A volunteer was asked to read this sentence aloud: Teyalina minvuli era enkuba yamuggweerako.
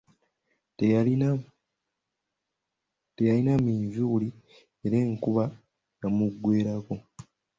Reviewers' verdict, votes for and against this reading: rejected, 0, 2